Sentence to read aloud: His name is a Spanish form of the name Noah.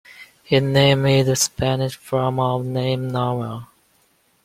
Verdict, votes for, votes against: rejected, 0, 2